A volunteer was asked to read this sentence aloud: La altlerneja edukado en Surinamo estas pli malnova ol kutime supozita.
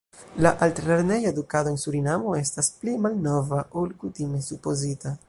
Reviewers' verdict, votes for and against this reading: accepted, 2, 1